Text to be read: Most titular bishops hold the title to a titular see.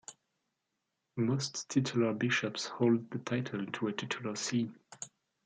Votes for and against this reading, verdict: 2, 0, accepted